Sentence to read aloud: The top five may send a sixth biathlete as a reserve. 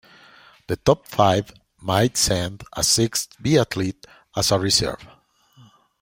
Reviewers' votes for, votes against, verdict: 1, 2, rejected